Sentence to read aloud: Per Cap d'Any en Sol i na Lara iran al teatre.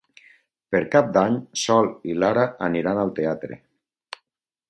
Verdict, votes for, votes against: rejected, 0, 4